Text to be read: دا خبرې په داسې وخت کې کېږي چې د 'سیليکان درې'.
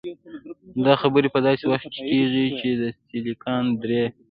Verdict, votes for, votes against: rejected, 1, 2